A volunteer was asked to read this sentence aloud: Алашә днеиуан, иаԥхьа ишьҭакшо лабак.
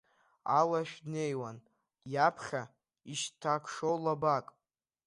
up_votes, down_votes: 1, 2